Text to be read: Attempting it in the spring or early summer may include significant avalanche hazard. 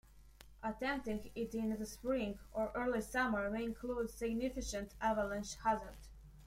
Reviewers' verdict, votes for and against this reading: rejected, 0, 2